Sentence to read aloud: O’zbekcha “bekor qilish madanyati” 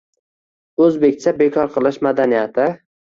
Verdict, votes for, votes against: accepted, 2, 0